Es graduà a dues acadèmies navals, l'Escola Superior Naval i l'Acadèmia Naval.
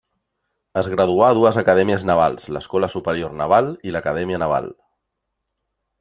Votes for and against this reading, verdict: 0, 2, rejected